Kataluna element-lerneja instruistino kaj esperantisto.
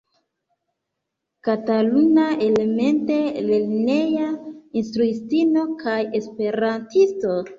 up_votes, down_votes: 0, 2